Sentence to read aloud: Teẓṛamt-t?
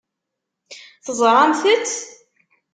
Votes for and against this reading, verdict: 2, 0, accepted